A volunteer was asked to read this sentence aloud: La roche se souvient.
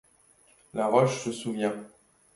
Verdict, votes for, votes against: accepted, 2, 0